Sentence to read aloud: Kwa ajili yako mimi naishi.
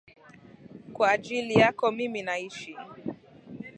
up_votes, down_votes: 2, 0